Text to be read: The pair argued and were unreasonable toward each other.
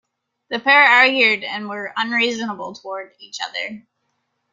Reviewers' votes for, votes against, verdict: 2, 0, accepted